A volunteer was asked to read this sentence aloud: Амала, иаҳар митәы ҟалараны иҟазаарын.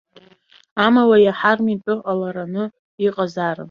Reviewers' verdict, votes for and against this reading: rejected, 2, 3